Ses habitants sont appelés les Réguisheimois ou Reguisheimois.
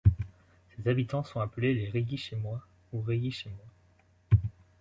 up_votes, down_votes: 0, 2